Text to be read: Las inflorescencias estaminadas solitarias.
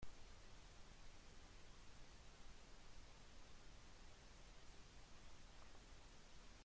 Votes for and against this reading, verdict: 0, 2, rejected